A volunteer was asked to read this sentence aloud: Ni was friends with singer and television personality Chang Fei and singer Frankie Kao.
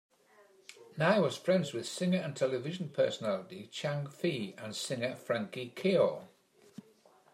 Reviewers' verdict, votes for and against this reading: accepted, 2, 1